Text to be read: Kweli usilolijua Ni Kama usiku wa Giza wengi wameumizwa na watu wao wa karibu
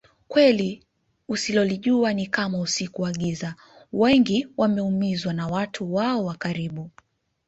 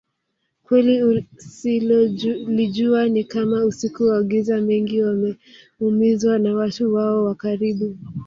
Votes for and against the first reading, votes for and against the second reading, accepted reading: 2, 0, 0, 2, first